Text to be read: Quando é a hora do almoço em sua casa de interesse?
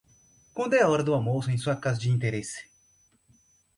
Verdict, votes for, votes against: rejected, 2, 4